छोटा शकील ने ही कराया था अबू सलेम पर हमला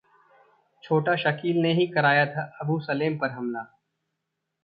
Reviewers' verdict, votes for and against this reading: rejected, 1, 2